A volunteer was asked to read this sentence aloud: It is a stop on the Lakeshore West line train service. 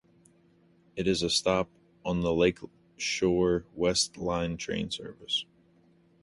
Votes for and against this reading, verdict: 1, 2, rejected